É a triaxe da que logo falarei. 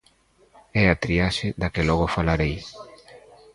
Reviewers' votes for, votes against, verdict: 0, 2, rejected